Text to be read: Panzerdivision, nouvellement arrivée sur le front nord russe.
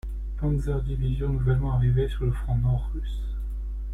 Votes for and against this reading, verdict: 2, 1, accepted